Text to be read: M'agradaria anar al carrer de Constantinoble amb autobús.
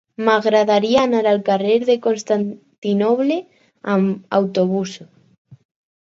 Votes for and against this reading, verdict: 4, 0, accepted